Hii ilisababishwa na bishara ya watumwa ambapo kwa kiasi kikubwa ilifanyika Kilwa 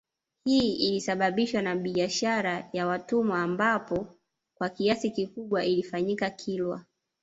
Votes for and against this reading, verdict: 2, 1, accepted